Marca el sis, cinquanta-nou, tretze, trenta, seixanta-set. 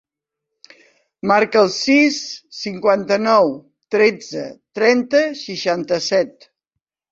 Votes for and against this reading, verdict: 3, 0, accepted